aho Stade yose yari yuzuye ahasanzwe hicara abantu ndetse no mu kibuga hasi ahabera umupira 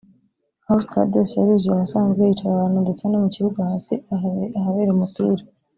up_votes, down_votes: 1, 2